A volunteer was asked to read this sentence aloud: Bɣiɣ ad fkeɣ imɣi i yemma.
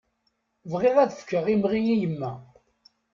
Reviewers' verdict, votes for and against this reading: accepted, 2, 0